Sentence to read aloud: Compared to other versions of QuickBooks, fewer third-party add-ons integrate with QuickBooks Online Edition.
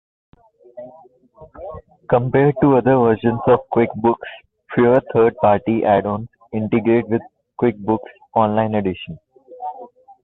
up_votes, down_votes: 2, 1